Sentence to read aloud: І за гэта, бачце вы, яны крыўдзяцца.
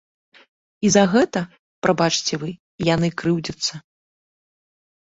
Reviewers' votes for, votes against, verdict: 0, 2, rejected